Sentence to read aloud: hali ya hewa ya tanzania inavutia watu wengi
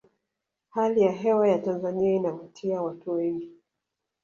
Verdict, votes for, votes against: accepted, 2, 0